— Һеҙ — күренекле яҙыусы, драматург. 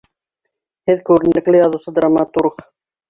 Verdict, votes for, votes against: accepted, 2, 1